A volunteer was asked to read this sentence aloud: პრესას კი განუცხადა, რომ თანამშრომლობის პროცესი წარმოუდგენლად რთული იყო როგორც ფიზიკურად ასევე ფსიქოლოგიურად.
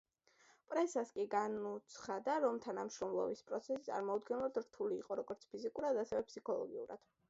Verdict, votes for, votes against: accepted, 2, 1